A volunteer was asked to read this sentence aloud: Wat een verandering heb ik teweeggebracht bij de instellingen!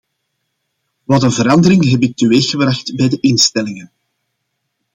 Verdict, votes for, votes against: accepted, 2, 0